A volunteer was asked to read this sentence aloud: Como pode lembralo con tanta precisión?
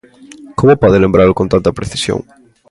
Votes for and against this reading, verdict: 2, 0, accepted